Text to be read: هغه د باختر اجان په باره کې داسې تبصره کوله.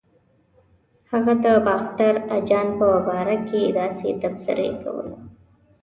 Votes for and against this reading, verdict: 1, 2, rejected